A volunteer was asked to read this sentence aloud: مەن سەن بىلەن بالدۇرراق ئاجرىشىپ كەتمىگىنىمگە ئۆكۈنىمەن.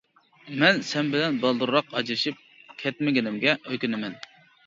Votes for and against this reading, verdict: 2, 0, accepted